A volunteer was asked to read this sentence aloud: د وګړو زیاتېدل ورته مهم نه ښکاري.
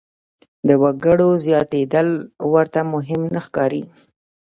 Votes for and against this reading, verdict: 1, 2, rejected